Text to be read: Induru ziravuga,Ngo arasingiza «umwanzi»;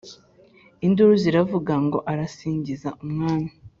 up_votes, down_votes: 2, 3